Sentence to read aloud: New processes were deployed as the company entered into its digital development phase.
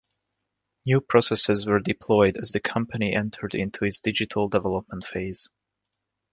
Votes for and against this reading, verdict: 2, 0, accepted